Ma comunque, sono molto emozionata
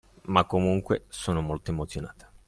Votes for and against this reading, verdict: 3, 0, accepted